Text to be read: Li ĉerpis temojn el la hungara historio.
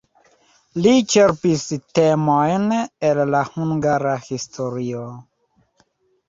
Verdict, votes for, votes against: rejected, 1, 2